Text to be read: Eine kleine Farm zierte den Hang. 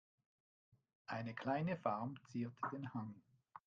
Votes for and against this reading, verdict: 1, 2, rejected